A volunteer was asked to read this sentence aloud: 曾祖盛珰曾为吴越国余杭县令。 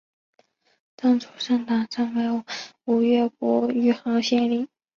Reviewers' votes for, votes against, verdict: 2, 0, accepted